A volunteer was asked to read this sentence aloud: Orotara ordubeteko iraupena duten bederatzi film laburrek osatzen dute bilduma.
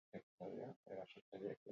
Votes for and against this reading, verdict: 0, 6, rejected